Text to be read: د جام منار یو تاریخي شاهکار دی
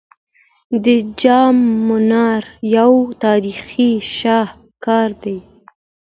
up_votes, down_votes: 2, 0